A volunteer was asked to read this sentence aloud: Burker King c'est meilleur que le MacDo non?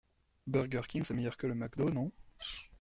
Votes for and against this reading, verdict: 2, 0, accepted